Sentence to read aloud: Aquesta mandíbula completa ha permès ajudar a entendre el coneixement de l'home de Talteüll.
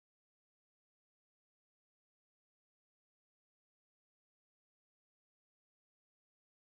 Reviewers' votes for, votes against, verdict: 0, 2, rejected